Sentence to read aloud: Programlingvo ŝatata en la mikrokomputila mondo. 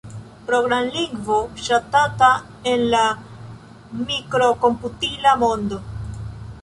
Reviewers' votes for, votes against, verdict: 2, 0, accepted